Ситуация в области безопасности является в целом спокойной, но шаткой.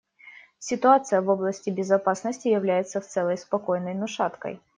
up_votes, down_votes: 0, 2